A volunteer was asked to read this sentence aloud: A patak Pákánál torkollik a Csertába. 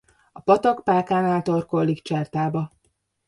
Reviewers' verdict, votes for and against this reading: rejected, 0, 2